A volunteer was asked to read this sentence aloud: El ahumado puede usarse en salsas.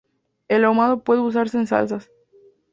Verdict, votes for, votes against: accepted, 2, 0